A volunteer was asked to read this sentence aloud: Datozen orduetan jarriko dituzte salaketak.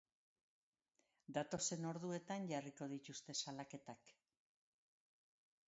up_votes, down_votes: 2, 0